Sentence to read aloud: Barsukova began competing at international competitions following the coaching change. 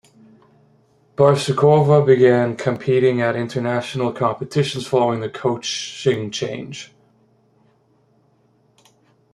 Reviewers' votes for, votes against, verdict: 2, 0, accepted